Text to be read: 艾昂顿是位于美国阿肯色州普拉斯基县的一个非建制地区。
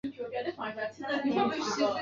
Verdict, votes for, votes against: rejected, 1, 3